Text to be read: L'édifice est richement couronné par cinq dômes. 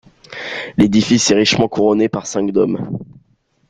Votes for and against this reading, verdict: 1, 2, rejected